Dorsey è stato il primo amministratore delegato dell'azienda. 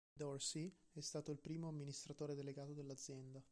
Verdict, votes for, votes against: rejected, 1, 2